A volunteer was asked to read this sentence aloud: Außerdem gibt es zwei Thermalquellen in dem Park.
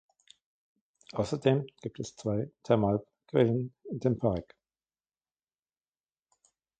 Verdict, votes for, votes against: rejected, 1, 2